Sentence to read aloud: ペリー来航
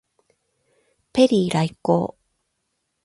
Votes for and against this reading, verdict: 12, 4, accepted